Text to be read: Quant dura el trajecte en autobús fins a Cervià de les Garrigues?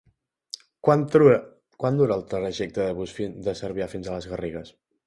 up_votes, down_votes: 0, 2